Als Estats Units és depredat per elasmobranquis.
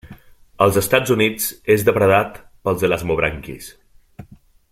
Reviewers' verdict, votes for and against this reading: rejected, 1, 2